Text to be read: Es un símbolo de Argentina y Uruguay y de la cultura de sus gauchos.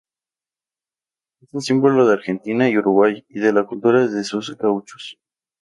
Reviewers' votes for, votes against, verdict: 0, 2, rejected